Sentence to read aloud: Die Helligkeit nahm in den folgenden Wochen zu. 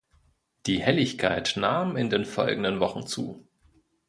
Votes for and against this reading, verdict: 2, 0, accepted